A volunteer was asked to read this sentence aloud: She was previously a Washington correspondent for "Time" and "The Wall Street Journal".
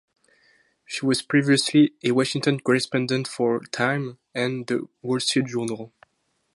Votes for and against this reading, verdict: 4, 0, accepted